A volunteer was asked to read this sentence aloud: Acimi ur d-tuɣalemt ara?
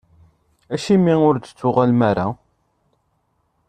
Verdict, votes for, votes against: rejected, 1, 2